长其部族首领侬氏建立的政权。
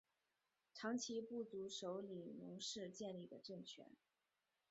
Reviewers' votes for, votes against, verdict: 2, 0, accepted